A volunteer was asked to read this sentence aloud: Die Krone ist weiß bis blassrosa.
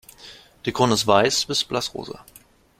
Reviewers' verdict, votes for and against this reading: accepted, 2, 0